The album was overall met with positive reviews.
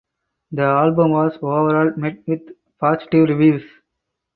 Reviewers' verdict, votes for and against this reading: accepted, 4, 0